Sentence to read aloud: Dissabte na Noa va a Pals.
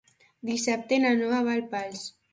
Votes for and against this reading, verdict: 1, 2, rejected